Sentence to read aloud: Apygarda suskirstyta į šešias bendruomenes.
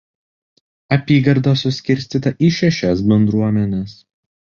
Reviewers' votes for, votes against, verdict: 2, 0, accepted